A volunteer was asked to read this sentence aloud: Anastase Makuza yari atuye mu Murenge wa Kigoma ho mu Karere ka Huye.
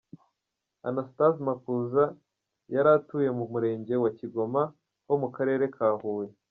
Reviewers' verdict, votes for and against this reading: accepted, 2, 0